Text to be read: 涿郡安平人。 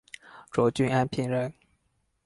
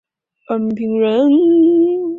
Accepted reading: first